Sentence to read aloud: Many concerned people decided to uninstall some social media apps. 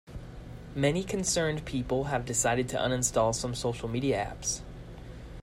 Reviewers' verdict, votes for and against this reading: rejected, 0, 2